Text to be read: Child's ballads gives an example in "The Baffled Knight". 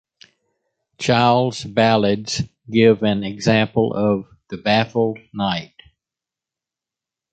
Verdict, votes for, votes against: rejected, 1, 2